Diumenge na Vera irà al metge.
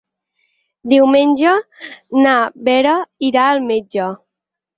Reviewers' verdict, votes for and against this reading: accepted, 8, 0